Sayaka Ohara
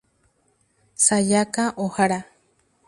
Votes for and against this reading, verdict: 0, 2, rejected